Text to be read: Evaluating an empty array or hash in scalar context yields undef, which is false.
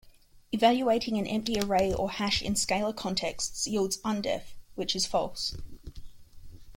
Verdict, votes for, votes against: accepted, 2, 0